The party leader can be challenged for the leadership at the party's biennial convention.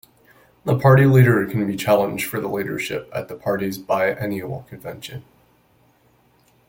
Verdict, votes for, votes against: accepted, 2, 0